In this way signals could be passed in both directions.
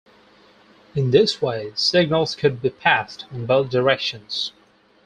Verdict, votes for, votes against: accepted, 4, 0